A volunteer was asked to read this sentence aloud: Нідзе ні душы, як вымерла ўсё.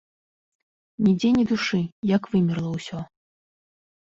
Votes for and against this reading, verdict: 2, 0, accepted